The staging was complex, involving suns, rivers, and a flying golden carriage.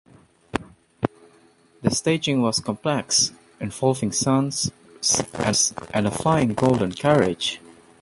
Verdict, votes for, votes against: rejected, 1, 2